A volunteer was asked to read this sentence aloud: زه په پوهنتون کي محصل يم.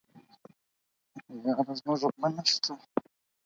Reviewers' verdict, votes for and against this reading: rejected, 0, 6